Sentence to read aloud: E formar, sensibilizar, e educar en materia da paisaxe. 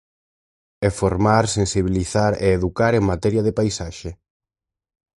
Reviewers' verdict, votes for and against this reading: rejected, 0, 4